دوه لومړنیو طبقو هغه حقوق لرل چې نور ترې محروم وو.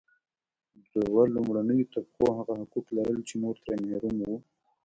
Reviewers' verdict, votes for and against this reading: rejected, 1, 2